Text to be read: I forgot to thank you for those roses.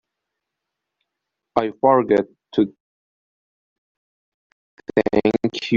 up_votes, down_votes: 0, 3